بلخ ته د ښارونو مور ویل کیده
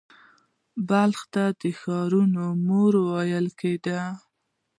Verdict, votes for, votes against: accepted, 2, 0